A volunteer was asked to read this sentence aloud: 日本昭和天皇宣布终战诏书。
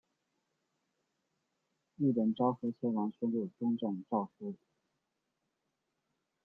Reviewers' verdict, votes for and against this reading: accepted, 2, 0